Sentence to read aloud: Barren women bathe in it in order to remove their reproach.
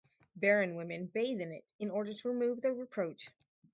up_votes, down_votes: 2, 2